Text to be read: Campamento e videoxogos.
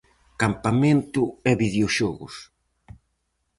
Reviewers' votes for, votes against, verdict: 4, 0, accepted